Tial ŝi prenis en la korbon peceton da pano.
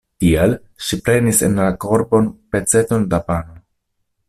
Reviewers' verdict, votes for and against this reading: rejected, 1, 2